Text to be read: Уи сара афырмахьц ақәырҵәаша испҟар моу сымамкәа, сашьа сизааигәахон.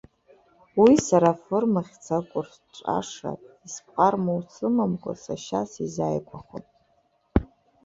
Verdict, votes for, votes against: rejected, 1, 2